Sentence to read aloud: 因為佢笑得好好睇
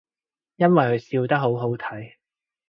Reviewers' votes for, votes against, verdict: 2, 0, accepted